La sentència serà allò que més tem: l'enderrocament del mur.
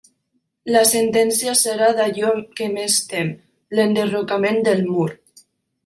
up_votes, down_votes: 1, 2